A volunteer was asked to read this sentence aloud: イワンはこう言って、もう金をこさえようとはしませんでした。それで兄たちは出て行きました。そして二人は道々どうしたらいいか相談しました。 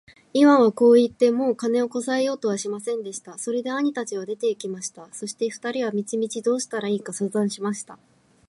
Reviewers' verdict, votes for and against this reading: accepted, 2, 0